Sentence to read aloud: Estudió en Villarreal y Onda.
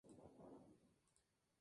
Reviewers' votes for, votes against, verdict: 0, 2, rejected